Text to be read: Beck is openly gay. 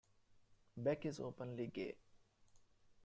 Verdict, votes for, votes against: accepted, 2, 0